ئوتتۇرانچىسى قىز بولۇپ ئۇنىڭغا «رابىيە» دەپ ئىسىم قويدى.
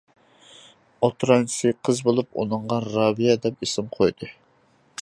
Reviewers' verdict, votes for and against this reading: accepted, 2, 0